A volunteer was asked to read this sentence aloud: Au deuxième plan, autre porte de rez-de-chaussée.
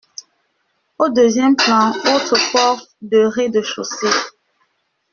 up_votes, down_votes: 1, 2